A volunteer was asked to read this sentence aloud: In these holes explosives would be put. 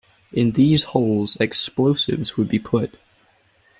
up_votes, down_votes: 2, 0